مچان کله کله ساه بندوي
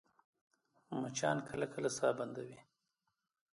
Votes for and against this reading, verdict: 1, 2, rejected